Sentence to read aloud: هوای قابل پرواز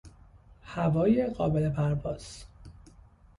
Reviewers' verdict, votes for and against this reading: accepted, 2, 0